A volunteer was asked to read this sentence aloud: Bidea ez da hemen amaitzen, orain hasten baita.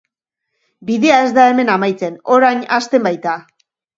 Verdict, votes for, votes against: rejected, 2, 3